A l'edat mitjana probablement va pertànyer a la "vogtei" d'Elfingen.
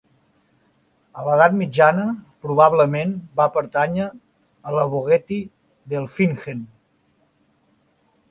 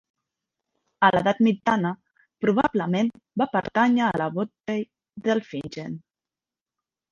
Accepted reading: first